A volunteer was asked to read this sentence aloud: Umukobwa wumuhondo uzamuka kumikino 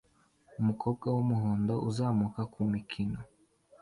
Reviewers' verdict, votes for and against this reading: accepted, 2, 0